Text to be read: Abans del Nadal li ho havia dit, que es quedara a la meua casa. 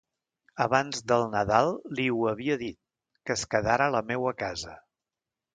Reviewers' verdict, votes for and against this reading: rejected, 0, 2